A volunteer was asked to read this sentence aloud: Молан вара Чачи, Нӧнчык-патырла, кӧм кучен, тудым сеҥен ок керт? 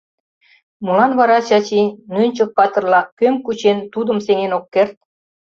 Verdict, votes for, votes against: accepted, 2, 0